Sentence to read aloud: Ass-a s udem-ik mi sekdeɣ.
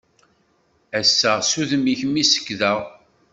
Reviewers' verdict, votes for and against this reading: accepted, 2, 0